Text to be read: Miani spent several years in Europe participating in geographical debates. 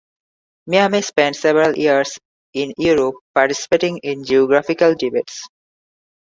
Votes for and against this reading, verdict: 1, 2, rejected